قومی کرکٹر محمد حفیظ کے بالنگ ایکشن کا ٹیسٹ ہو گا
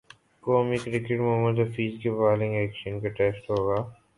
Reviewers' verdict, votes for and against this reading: accepted, 4, 1